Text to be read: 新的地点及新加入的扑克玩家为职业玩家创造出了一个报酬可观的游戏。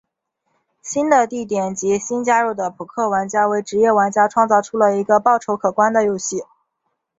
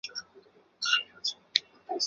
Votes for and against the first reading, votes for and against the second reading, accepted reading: 2, 1, 1, 2, first